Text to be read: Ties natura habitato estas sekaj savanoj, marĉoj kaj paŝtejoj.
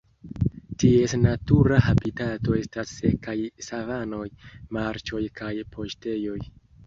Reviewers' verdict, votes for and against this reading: accepted, 2, 0